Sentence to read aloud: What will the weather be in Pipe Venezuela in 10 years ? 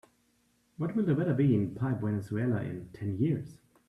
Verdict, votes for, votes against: rejected, 0, 2